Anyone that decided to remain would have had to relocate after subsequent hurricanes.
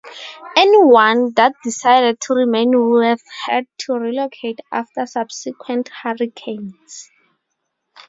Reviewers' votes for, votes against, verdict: 0, 2, rejected